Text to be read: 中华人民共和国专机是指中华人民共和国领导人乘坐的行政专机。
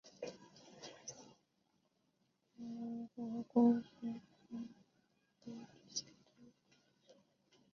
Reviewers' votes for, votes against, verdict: 0, 3, rejected